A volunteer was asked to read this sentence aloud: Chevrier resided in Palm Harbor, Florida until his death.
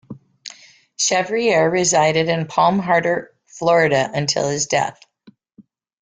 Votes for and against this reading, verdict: 0, 2, rejected